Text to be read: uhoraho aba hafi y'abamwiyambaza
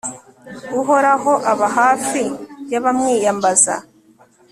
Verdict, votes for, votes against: accepted, 2, 0